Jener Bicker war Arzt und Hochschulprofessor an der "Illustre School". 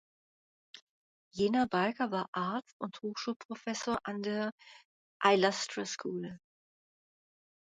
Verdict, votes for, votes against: rejected, 1, 2